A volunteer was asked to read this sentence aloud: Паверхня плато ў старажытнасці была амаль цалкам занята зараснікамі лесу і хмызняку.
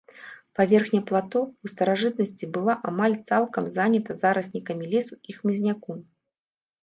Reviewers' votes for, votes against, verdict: 2, 0, accepted